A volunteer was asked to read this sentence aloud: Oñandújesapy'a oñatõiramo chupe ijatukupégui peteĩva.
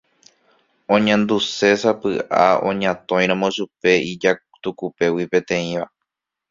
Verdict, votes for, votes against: rejected, 1, 2